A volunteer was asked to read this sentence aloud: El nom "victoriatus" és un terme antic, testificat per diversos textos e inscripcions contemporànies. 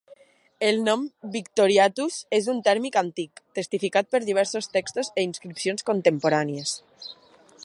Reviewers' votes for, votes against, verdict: 1, 2, rejected